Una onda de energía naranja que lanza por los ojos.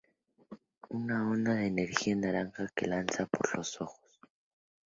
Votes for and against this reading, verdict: 2, 0, accepted